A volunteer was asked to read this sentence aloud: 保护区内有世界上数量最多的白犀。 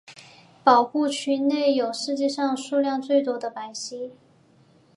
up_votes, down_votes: 2, 0